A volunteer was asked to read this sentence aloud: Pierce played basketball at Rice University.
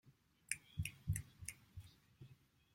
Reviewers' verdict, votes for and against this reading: rejected, 0, 2